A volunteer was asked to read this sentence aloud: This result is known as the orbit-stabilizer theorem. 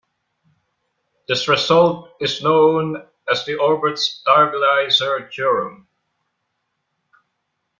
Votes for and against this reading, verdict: 1, 3, rejected